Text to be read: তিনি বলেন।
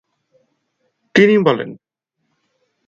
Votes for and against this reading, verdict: 6, 0, accepted